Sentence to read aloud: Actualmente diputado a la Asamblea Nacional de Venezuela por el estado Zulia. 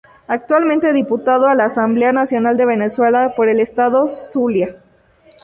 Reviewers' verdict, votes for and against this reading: accepted, 2, 0